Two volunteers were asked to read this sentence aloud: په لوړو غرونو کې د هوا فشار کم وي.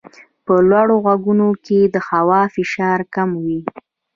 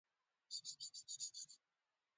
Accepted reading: first